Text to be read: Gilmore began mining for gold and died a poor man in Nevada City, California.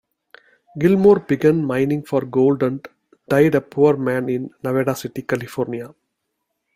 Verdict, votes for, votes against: accepted, 2, 0